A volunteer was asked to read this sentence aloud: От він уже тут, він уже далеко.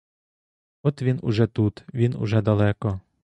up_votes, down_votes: 2, 0